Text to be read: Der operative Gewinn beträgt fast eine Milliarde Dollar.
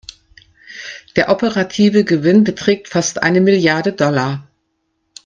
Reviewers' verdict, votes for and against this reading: accepted, 2, 0